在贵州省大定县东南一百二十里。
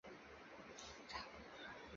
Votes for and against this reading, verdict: 0, 2, rejected